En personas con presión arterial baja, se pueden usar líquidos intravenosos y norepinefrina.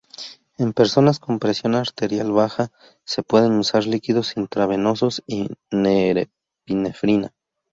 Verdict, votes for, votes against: rejected, 0, 2